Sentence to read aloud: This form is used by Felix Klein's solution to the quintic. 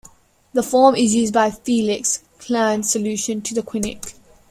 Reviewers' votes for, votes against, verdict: 0, 2, rejected